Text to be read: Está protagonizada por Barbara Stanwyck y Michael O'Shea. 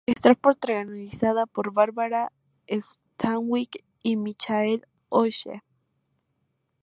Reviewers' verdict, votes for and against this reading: rejected, 2, 2